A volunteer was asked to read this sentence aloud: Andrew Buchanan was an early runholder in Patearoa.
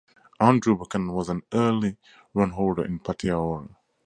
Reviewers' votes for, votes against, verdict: 2, 0, accepted